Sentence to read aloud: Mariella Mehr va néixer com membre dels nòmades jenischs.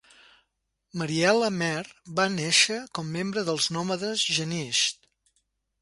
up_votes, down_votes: 2, 0